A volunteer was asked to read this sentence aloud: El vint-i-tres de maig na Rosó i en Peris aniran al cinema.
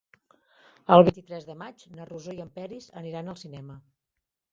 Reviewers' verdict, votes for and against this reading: accepted, 3, 0